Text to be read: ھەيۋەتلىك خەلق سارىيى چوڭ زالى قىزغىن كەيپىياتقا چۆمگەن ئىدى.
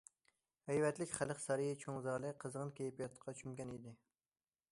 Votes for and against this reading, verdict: 2, 0, accepted